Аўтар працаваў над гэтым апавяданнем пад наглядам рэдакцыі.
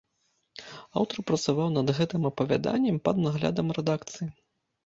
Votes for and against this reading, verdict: 2, 0, accepted